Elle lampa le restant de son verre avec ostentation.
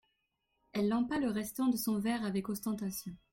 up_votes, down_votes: 2, 0